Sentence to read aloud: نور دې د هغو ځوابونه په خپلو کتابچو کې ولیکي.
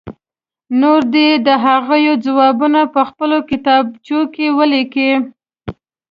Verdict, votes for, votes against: accepted, 2, 0